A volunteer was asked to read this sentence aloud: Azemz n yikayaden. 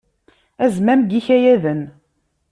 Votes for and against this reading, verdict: 0, 2, rejected